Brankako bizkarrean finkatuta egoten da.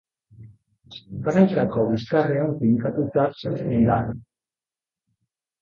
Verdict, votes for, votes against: rejected, 0, 2